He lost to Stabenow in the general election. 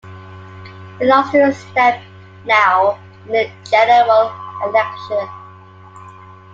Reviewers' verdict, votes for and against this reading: rejected, 0, 2